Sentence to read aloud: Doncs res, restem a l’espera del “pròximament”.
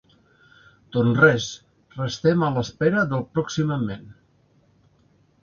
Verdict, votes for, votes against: accepted, 2, 0